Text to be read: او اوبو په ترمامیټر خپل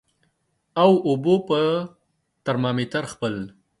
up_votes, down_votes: 1, 2